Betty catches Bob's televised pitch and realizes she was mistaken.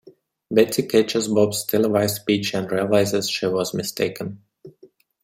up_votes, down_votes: 2, 0